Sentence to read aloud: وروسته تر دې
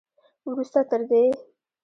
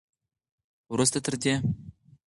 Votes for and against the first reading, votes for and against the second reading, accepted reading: 1, 2, 4, 0, second